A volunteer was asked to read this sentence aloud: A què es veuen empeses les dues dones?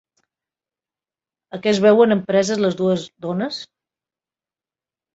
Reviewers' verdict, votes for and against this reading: rejected, 0, 2